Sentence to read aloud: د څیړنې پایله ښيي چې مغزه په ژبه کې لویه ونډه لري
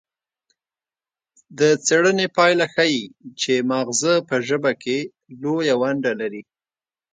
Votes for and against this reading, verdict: 2, 1, accepted